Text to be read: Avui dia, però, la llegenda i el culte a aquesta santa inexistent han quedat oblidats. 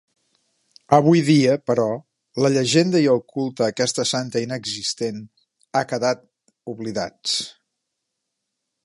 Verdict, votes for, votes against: rejected, 1, 2